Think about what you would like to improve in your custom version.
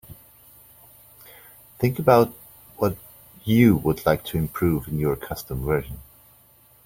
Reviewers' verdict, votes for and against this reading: accepted, 2, 1